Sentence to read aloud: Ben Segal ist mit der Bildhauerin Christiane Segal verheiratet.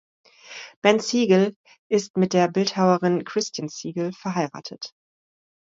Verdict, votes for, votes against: rejected, 0, 2